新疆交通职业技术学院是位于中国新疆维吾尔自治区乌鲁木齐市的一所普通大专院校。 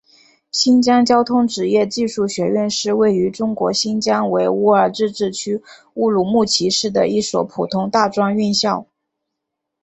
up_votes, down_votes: 5, 0